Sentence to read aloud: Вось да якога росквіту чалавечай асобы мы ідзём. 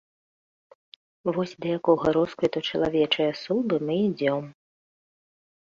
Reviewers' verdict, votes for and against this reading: accepted, 3, 0